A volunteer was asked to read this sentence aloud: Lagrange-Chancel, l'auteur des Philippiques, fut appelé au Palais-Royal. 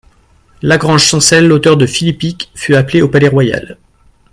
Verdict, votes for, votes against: rejected, 0, 2